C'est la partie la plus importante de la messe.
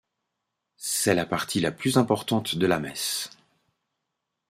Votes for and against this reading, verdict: 2, 0, accepted